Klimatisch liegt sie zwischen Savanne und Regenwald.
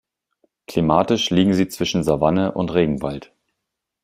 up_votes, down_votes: 1, 2